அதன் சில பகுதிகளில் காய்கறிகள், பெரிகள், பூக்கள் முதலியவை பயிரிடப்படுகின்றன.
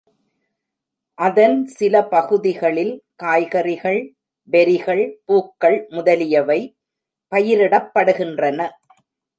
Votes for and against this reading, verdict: 2, 0, accepted